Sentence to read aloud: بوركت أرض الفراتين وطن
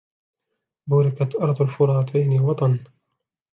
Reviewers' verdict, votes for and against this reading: rejected, 0, 2